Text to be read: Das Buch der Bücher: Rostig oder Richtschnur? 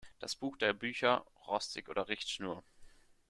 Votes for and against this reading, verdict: 3, 0, accepted